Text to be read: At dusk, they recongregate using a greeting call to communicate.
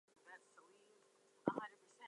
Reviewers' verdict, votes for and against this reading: rejected, 0, 2